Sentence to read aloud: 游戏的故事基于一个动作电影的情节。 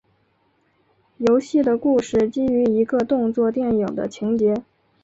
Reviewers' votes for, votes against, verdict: 4, 0, accepted